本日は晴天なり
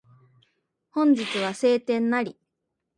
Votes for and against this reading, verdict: 2, 0, accepted